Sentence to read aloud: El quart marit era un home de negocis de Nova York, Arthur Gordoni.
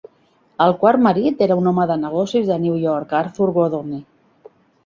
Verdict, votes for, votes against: rejected, 0, 2